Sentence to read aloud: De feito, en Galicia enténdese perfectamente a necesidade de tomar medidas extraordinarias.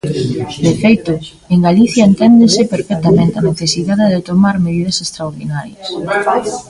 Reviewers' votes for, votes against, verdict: 1, 2, rejected